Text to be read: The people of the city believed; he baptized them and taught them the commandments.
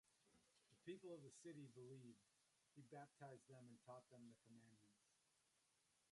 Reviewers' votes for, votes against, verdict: 0, 2, rejected